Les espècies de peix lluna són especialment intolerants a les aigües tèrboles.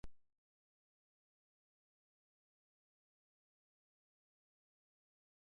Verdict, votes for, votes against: rejected, 1, 2